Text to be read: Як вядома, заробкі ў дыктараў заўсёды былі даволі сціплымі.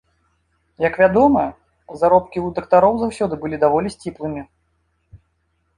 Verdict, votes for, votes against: rejected, 1, 2